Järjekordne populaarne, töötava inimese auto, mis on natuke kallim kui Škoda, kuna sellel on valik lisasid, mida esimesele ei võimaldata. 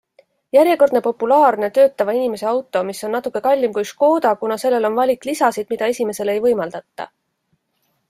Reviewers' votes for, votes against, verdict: 2, 0, accepted